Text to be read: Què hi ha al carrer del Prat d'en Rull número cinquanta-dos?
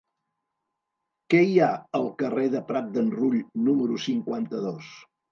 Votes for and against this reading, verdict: 0, 2, rejected